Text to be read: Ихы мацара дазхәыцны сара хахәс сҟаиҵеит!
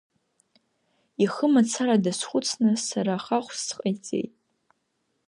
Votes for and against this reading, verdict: 2, 0, accepted